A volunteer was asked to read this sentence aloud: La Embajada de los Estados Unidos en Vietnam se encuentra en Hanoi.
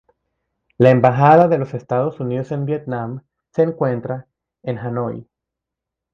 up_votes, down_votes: 2, 0